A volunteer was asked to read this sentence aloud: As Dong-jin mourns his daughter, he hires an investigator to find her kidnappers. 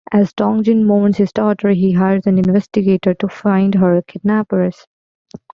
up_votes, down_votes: 2, 0